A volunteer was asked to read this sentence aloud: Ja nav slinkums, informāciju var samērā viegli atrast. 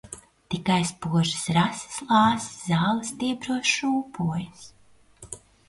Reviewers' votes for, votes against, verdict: 0, 2, rejected